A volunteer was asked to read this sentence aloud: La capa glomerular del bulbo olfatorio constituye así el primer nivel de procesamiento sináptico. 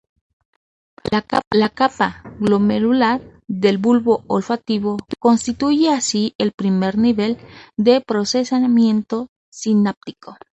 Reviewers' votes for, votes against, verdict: 0, 4, rejected